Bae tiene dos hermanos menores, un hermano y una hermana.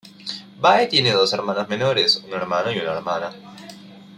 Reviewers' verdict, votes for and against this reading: accepted, 2, 0